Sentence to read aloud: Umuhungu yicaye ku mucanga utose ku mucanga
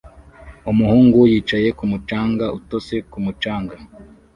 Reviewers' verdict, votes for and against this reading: accepted, 2, 0